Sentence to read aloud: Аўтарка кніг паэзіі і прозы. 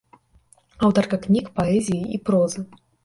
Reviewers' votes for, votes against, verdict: 3, 0, accepted